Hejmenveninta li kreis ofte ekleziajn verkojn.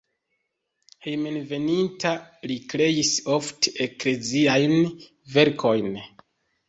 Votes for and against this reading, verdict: 2, 1, accepted